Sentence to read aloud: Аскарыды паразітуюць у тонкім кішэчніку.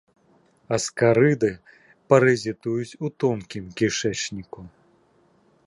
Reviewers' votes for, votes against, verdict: 2, 0, accepted